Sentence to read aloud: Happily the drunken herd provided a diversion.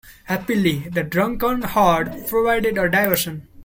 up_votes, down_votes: 0, 2